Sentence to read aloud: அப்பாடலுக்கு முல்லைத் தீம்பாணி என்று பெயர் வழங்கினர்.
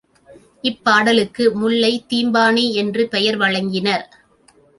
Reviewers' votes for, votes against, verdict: 0, 2, rejected